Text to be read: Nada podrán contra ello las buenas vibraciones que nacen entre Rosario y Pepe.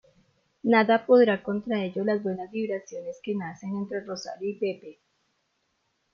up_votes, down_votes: 1, 2